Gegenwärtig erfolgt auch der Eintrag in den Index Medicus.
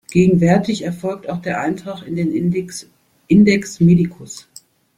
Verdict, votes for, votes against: rejected, 0, 2